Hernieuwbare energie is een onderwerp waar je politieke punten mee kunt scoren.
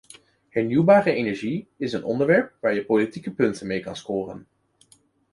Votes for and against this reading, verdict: 1, 2, rejected